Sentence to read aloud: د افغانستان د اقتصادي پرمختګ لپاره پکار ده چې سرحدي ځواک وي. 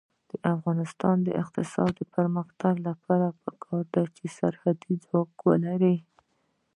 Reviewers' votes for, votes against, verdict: 1, 2, rejected